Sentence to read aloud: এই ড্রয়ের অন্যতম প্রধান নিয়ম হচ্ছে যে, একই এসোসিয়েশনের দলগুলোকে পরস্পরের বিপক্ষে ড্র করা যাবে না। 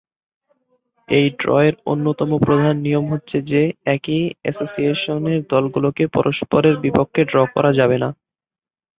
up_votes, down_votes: 2, 0